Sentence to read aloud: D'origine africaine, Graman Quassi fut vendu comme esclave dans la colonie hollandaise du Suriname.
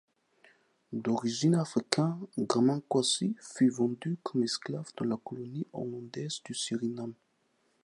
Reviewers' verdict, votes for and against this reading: accepted, 2, 1